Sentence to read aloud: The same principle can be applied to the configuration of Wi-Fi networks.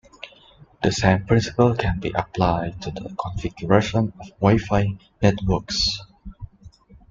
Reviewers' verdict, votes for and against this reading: accepted, 2, 0